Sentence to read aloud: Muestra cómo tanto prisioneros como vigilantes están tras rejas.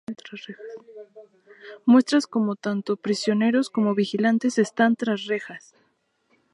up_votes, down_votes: 0, 2